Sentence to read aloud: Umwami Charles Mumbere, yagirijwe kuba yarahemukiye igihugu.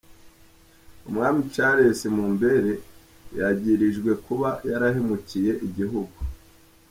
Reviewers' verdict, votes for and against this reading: accepted, 4, 0